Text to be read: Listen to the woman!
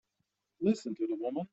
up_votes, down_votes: 2, 0